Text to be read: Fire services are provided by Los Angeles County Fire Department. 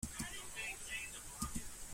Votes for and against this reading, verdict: 0, 2, rejected